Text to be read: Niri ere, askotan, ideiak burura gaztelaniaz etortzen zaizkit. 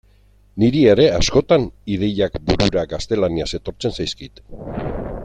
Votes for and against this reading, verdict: 1, 2, rejected